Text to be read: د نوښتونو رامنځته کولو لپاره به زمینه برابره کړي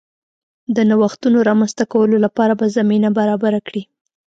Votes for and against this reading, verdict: 2, 0, accepted